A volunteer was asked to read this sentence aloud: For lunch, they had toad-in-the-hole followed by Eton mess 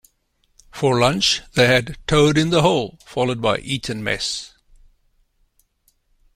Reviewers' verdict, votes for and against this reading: accepted, 2, 0